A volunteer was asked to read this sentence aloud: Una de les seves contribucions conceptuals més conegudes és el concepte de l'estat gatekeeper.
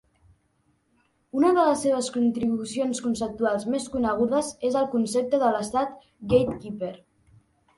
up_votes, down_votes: 3, 0